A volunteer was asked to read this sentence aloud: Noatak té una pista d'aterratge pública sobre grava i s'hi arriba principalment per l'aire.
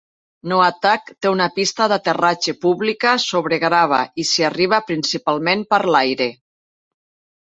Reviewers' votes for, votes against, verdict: 2, 0, accepted